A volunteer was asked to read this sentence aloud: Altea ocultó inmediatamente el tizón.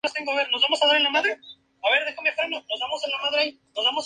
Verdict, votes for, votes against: rejected, 0, 2